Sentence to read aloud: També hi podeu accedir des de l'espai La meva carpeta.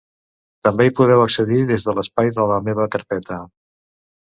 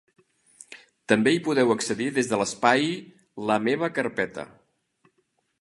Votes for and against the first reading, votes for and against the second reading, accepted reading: 0, 2, 2, 0, second